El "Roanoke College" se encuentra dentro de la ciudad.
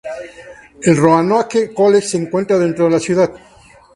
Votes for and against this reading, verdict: 2, 0, accepted